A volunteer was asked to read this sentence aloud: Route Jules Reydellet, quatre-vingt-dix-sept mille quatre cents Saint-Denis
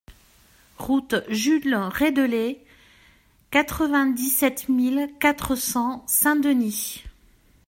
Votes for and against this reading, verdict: 2, 1, accepted